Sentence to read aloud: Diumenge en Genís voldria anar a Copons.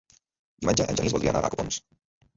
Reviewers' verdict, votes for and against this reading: rejected, 1, 3